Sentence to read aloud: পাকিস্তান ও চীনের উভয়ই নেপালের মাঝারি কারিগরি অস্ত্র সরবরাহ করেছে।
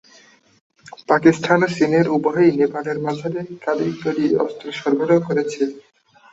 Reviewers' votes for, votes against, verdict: 5, 7, rejected